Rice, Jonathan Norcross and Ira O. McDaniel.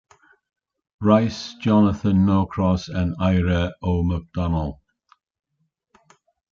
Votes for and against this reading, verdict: 0, 2, rejected